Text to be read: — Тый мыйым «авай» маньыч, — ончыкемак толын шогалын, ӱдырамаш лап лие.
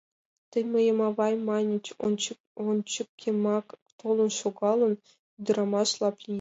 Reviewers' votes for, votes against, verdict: 1, 2, rejected